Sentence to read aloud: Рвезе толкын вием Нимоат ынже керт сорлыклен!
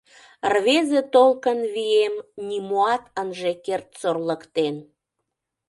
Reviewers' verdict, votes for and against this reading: rejected, 1, 2